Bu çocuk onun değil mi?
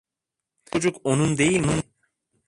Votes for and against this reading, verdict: 0, 2, rejected